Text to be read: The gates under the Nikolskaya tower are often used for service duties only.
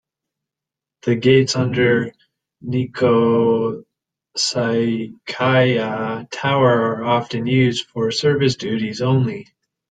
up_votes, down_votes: 1, 2